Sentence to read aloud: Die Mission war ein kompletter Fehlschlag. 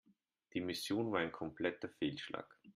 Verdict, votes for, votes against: accepted, 2, 0